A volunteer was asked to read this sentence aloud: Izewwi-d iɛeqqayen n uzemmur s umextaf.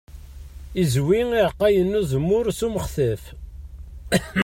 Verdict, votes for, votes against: rejected, 1, 2